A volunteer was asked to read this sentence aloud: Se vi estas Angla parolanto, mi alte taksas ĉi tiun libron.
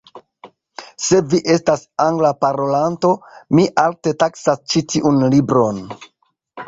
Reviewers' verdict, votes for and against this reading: accepted, 2, 0